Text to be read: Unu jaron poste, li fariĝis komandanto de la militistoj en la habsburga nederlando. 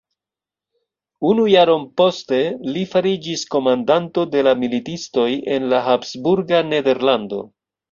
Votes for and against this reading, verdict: 2, 0, accepted